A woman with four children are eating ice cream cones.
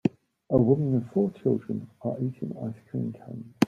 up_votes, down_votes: 2, 0